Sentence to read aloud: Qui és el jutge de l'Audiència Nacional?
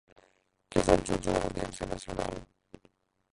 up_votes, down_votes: 1, 2